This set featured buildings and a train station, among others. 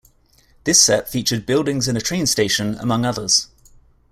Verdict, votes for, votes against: accepted, 2, 0